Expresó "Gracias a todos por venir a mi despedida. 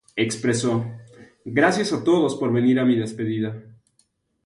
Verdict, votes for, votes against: accepted, 2, 0